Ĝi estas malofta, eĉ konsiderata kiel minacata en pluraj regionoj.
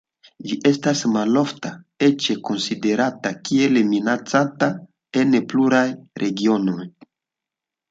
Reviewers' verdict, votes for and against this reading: accepted, 2, 0